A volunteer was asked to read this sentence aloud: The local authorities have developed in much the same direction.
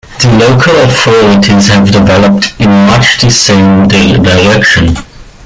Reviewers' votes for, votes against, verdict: 2, 1, accepted